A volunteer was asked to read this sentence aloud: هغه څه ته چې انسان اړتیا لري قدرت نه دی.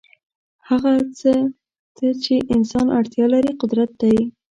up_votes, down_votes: 1, 2